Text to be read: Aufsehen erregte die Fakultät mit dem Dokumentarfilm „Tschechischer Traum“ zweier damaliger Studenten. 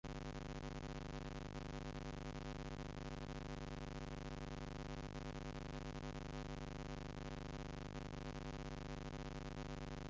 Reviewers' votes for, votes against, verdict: 0, 2, rejected